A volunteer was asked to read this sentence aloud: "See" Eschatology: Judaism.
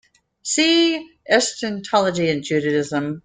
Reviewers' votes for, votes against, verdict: 1, 2, rejected